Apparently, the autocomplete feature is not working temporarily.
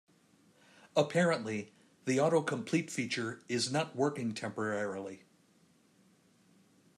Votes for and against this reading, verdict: 2, 0, accepted